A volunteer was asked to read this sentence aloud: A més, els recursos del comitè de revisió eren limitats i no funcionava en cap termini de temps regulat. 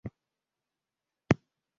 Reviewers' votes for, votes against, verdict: 0, 2, rejected